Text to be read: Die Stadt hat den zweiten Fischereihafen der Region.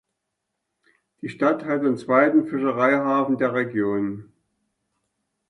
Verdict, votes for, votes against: accepted, 2, 0